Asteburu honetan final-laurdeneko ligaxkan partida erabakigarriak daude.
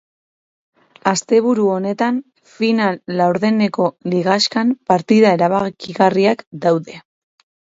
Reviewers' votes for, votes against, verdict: 2, 0, accepted